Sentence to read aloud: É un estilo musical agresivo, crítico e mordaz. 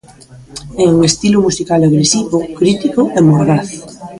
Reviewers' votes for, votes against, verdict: 2, 0, accepted